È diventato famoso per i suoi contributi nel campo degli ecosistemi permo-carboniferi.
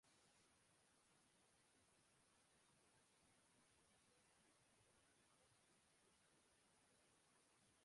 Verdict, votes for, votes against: rejected, 0, 2